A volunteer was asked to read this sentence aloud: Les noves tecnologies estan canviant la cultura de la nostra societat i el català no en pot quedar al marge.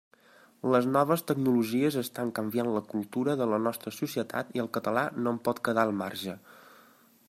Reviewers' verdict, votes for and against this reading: accepted, 4, 0